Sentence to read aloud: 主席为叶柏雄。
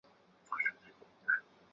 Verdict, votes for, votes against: rejected, 0, 3